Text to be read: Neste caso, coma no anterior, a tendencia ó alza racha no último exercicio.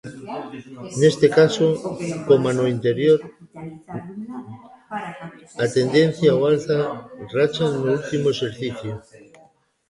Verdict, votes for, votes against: rejected, 0, 2